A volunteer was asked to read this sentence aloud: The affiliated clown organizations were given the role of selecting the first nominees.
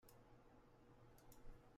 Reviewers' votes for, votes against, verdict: 0, 2, rejected